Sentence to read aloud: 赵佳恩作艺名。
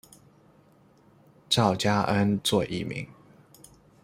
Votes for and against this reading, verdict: 2, 0, accepted